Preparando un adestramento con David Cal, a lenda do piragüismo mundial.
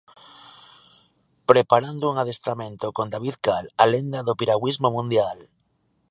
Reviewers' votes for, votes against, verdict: 2, 0, accepted